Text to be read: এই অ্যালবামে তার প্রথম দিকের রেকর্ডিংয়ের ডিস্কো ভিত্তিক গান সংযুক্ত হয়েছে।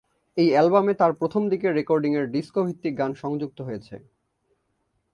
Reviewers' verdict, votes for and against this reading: accepted, 5, 0